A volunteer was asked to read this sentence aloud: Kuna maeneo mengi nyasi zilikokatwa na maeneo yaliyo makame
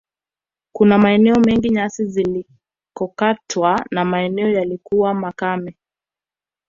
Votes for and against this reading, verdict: 2, 1, accepted